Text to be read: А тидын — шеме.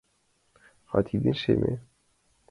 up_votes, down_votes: 2, 1